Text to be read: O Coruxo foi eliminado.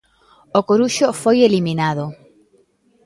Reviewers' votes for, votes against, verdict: 2, 0, accepted